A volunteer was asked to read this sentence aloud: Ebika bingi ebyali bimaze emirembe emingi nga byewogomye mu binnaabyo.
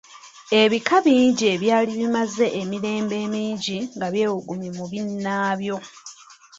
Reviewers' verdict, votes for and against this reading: accepted, 2, 1